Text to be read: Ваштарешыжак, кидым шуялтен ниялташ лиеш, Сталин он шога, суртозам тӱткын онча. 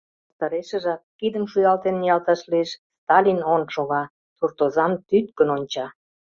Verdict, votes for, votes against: rejected, 0, 2